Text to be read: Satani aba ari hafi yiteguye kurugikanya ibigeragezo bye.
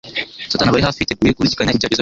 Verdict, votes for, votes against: rejected, 0, 2